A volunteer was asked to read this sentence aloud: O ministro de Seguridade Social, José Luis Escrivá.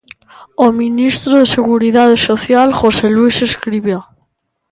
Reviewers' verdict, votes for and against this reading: rejected, 0, 2